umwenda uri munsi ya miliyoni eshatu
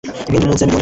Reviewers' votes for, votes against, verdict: 1, 2, rejected